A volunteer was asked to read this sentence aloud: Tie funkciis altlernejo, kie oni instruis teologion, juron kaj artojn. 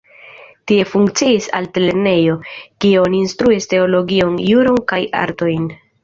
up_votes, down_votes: 2, 0